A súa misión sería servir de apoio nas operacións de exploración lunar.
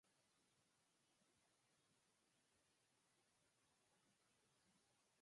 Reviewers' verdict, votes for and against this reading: rejected, 0, 4